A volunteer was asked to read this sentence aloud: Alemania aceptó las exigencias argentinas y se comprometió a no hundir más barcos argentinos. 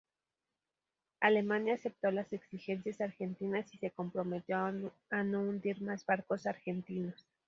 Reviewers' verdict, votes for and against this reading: rejected, 2, 2